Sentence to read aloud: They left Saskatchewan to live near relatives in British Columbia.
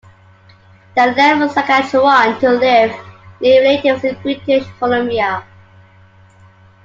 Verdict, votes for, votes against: accepted, 2, 1